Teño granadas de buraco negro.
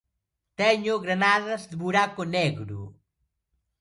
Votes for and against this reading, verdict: 1, 2, rejected